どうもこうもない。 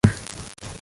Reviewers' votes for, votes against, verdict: 0, 2, rejected